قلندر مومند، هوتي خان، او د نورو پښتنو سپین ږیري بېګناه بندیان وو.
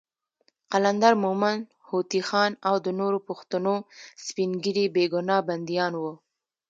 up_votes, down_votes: 1, 2